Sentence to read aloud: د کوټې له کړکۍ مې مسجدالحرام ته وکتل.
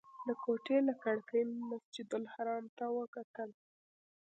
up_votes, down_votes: 1, 2